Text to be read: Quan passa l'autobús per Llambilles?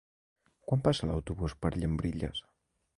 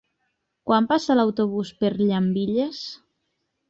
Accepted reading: second